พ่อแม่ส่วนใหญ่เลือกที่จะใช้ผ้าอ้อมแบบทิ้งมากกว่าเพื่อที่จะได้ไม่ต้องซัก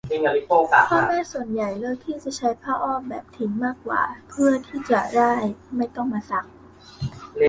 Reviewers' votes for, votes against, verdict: 0, 2, rejected